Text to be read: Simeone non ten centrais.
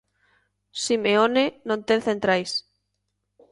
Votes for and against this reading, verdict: 2, 0, accepted